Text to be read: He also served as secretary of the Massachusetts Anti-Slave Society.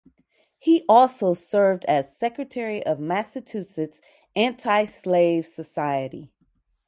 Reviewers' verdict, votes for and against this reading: rejected, 2, 2